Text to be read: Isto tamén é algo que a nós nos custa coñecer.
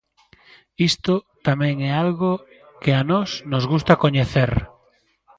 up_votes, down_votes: 0, 2